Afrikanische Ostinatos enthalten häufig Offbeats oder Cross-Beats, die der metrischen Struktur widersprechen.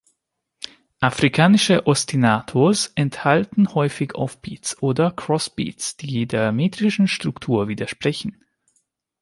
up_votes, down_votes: 2, 0